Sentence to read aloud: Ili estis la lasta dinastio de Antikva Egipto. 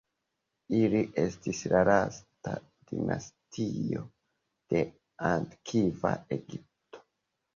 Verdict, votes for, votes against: rejected, 1, 2